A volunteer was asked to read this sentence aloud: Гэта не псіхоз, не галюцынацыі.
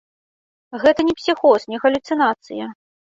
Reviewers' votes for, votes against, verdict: 1, 2, rejected